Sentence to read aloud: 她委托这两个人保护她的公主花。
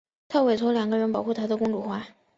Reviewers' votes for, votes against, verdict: 1, 3, rejected